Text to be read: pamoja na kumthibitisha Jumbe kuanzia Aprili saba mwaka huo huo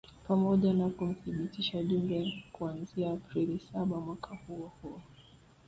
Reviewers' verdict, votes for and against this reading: rejected, 1, 2